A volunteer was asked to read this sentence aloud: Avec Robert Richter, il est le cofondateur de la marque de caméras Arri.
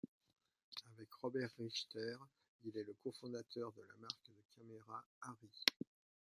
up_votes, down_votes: 0, 2